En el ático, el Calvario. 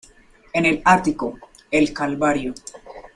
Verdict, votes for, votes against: accepted, 2, 1